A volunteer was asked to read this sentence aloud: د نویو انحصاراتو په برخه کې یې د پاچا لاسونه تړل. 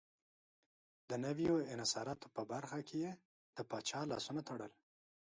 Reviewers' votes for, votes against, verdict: 2, 1, accepted